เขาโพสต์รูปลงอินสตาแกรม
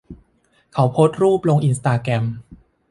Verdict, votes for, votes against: accepted, 2, 0